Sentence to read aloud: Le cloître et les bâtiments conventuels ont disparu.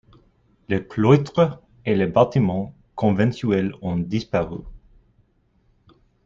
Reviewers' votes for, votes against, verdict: 1, 2, rejected